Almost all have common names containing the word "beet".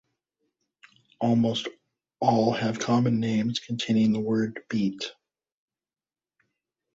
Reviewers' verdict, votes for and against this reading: accepted, 2, 0